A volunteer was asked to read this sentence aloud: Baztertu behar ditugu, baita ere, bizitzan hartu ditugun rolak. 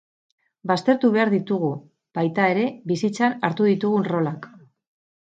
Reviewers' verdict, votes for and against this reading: rejected, 0, 4